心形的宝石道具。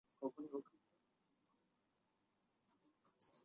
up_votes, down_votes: 1, 2